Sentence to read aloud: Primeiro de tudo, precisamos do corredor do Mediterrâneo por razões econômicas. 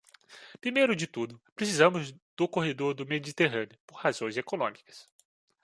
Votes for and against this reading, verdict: 2, 1, accepted